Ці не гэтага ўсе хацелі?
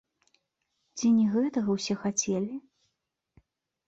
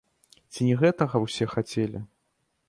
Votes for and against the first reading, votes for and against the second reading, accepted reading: 2, 0, 1, 2, first